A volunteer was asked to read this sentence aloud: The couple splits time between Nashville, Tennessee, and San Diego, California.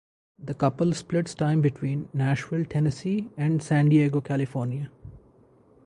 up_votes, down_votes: 2, 2